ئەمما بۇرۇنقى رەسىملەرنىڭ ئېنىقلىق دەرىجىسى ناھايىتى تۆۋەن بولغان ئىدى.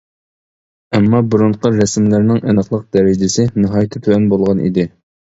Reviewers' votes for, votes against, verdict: 2, 0, accepted